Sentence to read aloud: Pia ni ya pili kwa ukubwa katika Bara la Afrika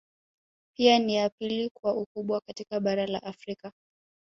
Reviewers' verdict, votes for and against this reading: accepted, 2, 0